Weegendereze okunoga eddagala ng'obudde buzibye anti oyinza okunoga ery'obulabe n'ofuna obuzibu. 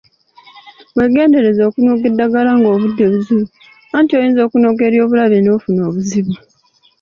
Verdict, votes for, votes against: accepted, 2, 0